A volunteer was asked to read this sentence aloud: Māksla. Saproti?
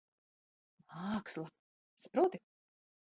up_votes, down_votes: 2, 1